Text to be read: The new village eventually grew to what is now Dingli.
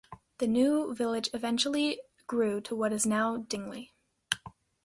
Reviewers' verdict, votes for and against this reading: accepted, 2, 0